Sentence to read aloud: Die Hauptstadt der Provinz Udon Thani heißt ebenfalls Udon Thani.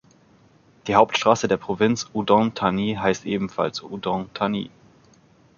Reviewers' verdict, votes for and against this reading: rejected, 1, 2